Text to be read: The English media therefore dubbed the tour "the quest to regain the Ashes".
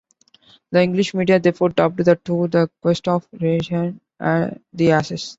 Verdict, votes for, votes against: rejected, 0, 2